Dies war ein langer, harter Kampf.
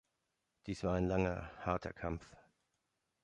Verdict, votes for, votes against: accepted, 3, 0